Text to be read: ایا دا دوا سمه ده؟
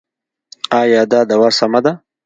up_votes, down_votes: 2, 0